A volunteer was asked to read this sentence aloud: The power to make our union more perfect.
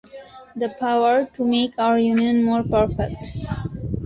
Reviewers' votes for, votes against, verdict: 2, 0, accepted